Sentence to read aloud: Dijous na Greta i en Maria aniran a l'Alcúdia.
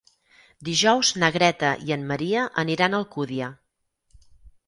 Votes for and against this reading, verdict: 0, 4, rejected